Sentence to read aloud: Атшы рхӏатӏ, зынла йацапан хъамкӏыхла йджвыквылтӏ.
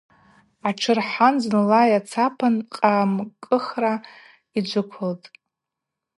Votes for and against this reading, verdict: 2, 0, accepted